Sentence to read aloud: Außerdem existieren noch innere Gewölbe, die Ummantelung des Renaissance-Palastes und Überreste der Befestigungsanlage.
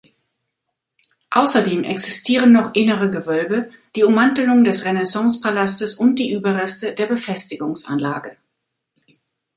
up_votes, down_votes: 1, 2